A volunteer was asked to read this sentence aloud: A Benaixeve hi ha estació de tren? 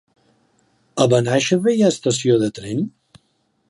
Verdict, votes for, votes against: accepted, 3, 0